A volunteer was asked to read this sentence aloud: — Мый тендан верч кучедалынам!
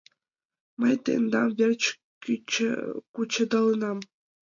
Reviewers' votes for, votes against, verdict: 1, 2, rejected